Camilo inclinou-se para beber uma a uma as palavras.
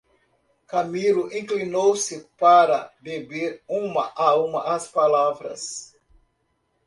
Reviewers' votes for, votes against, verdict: 2, 0, accepted